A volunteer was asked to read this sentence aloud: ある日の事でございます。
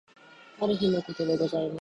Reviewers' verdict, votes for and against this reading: accepted, 2, 0